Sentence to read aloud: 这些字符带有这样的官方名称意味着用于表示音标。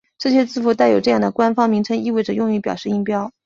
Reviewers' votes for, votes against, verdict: 4, 0, accepted